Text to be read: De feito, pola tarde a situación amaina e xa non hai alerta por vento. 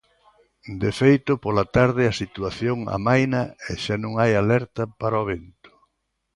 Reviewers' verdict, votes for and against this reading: rejected, 0, 2